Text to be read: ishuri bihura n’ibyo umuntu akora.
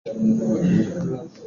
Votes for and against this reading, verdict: 0, 3, rejected